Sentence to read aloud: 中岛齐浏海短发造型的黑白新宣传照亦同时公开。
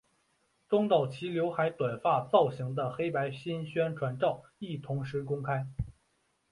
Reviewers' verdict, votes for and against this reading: accepted, 3, 0